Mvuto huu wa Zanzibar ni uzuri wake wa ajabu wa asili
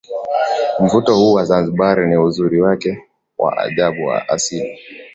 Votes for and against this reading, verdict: 2, 0, accepted